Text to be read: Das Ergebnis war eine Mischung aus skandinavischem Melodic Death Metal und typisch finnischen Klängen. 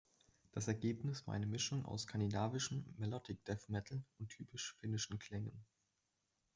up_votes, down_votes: 1, 2